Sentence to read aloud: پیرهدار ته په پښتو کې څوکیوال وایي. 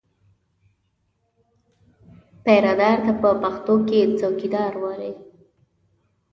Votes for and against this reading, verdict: 0, 2, rejected